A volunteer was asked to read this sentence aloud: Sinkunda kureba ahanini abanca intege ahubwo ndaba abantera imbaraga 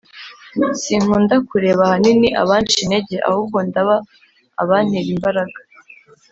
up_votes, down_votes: 3, 0